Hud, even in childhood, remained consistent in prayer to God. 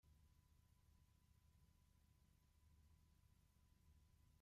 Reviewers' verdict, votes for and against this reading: rejected, 0, 2